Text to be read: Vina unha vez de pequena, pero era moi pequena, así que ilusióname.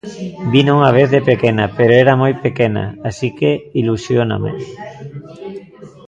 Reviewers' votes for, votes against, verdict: 1, 2, rejected